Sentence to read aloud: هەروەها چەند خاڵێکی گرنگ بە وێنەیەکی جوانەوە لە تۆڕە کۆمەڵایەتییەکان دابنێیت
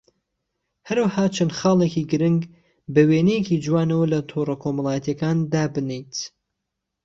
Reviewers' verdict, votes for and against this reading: accepted, 2, 0